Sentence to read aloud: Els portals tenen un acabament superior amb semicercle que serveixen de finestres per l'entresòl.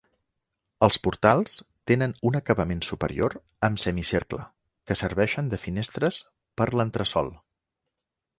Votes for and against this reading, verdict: 2, 0, accepted